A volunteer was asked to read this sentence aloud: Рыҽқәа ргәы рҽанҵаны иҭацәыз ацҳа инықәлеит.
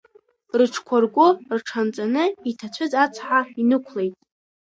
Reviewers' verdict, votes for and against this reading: accepted, 2, 1